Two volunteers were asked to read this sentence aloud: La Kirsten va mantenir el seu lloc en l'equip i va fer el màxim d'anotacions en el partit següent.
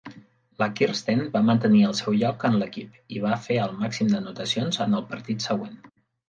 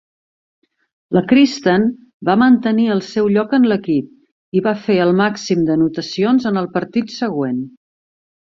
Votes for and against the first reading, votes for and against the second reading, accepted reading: 3, 0, 1, 2, first